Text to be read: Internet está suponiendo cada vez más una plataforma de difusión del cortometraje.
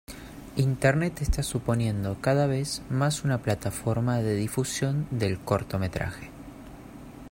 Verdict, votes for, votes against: accepted, 2, 0